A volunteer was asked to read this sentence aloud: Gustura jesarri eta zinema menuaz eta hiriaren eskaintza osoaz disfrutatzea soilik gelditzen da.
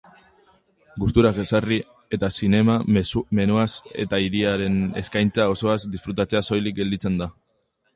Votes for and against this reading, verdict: 1, 2, rejected